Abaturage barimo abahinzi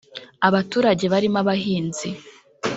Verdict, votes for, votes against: rejected, 1, 2